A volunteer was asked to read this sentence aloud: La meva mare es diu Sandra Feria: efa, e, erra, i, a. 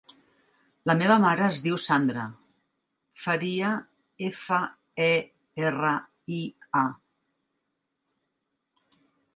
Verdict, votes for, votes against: rejected, 0, 2